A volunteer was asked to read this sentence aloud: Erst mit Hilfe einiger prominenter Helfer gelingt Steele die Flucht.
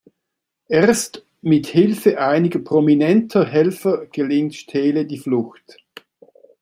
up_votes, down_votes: 2, 0